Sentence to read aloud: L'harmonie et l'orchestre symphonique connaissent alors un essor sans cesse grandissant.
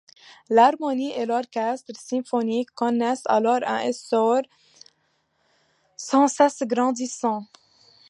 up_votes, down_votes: 1, 2